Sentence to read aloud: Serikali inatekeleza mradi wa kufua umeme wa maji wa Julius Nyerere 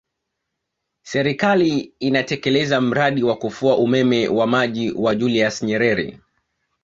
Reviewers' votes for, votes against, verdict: 1, 2, rejected